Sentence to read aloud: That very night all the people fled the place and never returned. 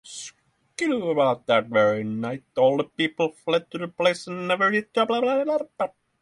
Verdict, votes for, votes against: rejected, 0, 6